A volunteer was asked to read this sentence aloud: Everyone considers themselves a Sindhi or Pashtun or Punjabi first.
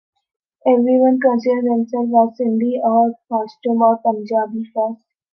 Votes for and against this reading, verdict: 1, 3, rejected